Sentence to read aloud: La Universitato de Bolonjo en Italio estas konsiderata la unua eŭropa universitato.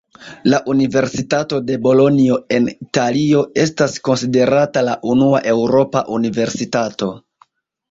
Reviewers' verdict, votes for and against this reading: accepted, 2, 0